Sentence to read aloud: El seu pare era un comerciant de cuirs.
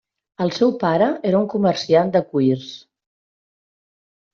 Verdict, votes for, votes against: accepted, 3, 0